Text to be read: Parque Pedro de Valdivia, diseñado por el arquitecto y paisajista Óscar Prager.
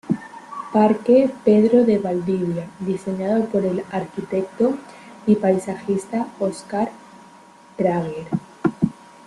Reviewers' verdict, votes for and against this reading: accepted, 2, 0